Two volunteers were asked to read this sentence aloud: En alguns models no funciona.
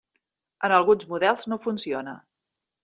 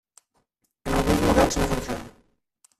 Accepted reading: first